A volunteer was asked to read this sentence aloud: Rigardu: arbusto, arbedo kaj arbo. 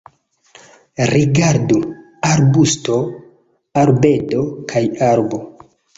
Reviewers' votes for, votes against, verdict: 2, 0, accepted